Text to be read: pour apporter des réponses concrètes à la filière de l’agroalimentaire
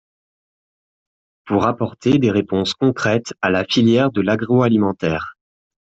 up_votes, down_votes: 2, 0